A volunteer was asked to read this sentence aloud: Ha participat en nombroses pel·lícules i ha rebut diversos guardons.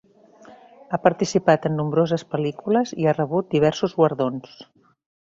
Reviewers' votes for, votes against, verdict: 1, 2, rejected